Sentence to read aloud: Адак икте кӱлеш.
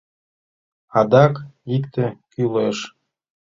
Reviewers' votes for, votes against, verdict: 2, 0, accepted